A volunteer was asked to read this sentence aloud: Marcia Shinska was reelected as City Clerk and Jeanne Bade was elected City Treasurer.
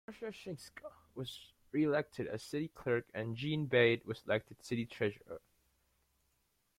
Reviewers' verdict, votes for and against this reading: rejected, 0, 2